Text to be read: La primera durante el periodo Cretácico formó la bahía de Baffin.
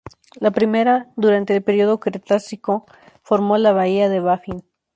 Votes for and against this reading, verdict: 0, 2, rejected